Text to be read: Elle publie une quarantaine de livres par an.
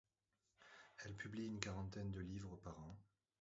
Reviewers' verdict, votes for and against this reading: rejected, 0, 2